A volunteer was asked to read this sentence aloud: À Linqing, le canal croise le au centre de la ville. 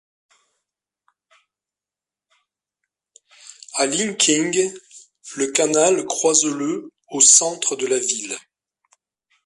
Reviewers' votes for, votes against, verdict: 2, 0, accepted